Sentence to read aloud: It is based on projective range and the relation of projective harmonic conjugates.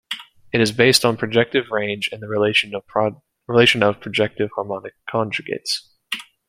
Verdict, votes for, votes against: rejected, 0, 2